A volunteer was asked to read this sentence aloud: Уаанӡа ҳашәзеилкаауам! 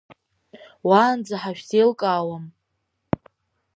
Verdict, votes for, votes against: accepted, 2, 0